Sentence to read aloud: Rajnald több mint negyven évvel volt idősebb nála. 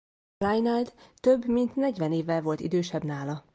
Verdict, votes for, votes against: rejected, 0, 2